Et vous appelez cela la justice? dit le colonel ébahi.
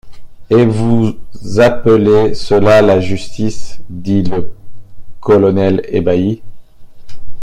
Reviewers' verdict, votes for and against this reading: rejected, 1, 2